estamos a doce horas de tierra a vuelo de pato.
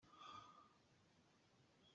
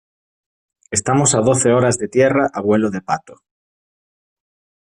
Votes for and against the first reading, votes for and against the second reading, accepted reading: 0, 2, 2, 0, second